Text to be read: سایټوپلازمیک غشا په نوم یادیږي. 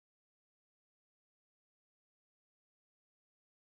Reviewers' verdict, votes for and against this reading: rejected, 0, 3